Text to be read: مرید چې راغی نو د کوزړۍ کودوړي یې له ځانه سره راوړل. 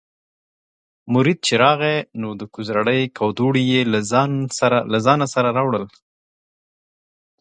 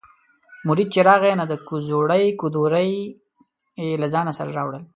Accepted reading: first